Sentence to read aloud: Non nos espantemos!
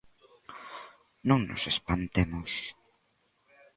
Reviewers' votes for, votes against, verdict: 2, 0, accepted